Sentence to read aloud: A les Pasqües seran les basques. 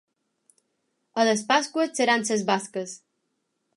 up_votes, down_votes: 0, 3